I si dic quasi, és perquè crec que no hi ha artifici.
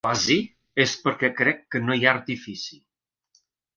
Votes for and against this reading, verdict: 0, 3, rejected